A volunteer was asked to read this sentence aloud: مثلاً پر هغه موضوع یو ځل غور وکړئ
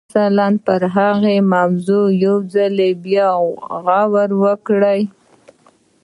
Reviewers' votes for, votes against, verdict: 1, 2, rejected